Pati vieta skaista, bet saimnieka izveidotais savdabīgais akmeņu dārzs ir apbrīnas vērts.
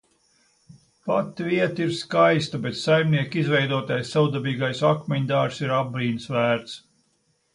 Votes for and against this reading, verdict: 0, 2, rejected